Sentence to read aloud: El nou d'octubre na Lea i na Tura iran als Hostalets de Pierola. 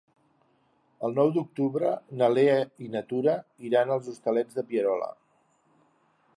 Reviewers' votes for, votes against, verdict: 3, 0, accepted